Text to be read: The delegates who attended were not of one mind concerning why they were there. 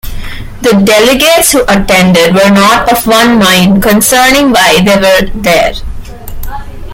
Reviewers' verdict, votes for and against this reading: accepted, 2, 0